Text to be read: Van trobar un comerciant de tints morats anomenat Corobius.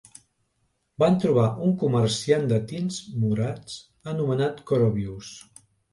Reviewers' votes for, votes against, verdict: 2, 0, accepted